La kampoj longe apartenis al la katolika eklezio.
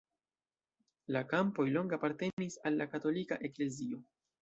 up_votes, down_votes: 2, 0